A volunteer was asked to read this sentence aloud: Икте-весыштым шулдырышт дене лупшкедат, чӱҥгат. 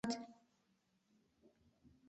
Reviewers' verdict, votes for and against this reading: rejected, 0, 2